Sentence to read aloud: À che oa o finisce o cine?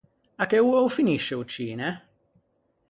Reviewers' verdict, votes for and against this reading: accepted, 4, 0